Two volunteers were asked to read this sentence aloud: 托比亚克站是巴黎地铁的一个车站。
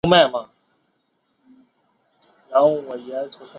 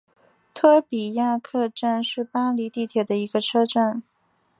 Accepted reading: second